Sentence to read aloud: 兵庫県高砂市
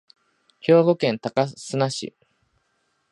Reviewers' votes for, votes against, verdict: 0, 2, rejected